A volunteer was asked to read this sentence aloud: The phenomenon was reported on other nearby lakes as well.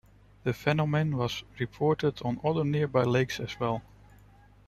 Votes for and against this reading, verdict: 1, 2, rejected